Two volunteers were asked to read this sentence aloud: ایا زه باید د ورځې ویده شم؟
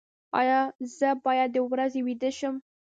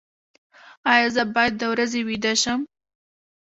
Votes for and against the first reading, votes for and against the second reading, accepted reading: 1, 2, 2, 1, second